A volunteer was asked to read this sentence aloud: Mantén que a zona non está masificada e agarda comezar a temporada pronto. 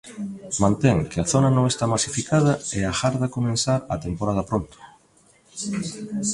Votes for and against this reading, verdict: 0, 2, rejected